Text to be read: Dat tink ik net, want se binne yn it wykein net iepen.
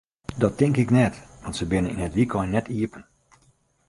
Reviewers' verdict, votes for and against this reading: accepted, 2, 0